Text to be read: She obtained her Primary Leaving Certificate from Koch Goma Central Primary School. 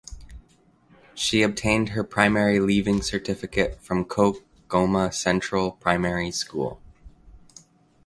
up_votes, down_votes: 2, 0